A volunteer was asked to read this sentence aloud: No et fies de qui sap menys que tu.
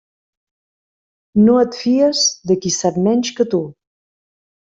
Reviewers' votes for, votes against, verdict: 3, 0, accepted